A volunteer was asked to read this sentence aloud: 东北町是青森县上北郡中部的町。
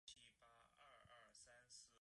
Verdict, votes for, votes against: rejected, 0, 2